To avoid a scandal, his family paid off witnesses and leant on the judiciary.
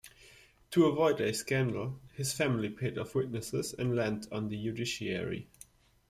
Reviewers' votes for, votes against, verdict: 1, 2, rejected